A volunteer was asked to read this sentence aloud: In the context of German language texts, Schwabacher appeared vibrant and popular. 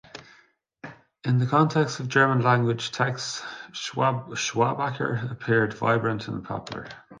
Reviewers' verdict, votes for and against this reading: rejected, 1, 2